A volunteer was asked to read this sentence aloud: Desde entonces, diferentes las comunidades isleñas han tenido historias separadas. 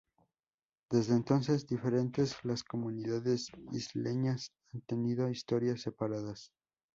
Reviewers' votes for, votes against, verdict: 2, 0, accepted